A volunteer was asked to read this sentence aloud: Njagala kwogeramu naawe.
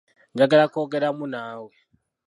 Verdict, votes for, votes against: rejected, 1, 2